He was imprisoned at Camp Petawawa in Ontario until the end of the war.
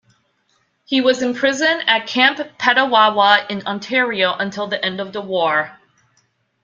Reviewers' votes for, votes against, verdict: 2, 0, accepted